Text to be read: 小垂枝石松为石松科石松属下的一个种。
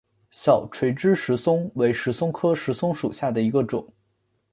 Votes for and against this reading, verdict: 2, 0, accepted